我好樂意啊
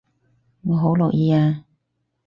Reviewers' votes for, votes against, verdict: 4, 0, accepted